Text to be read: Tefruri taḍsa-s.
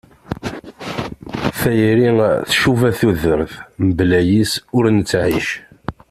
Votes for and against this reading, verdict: 0, 2, rejected